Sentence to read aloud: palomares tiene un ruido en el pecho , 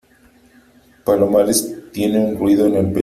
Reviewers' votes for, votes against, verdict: 0, 3, rejected